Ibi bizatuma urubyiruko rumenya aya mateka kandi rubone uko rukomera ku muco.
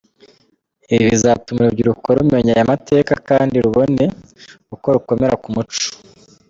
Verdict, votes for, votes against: rejected, 1, 2